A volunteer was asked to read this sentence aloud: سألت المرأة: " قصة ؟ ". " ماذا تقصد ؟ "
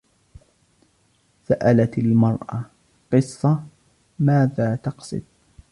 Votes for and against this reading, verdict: 1, 2, rejected